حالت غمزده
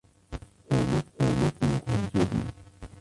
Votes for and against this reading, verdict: 0, 2, rejected